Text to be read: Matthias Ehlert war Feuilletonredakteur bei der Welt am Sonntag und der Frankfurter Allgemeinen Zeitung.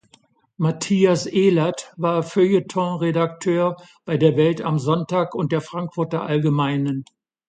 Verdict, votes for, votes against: rejected, 0, 2